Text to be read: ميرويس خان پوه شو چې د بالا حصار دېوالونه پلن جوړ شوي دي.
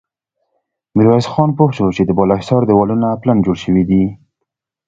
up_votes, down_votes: 2, 0